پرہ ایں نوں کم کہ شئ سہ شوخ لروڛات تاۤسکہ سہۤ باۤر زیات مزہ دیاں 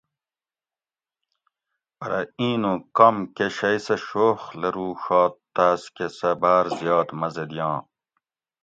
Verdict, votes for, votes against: accepted, 2, 0